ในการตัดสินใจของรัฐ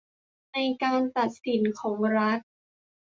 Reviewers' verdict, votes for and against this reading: rejected, 0, 2